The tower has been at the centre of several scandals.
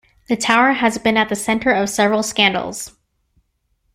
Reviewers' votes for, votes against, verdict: 2, 0, accepted